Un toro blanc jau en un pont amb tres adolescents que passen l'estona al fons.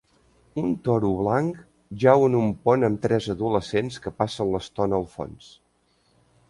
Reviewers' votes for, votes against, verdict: 2, 0, accepted